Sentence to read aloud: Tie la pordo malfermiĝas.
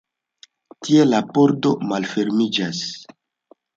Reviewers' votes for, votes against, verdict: 2, 1, accepted